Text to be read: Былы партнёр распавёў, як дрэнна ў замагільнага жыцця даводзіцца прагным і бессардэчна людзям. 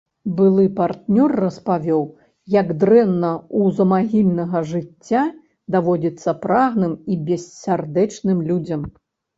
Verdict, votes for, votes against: rejected, 0, 3